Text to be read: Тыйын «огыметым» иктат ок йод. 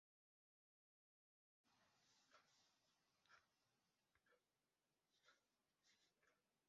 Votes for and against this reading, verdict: 0, 2, rejected